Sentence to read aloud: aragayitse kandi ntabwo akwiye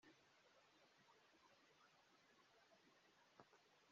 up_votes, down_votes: 0, 2